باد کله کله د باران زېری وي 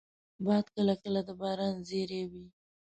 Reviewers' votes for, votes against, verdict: 2, 0, accepted